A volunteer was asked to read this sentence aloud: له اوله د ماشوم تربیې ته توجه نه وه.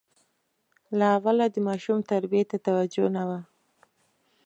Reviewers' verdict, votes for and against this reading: accepted, 2, 0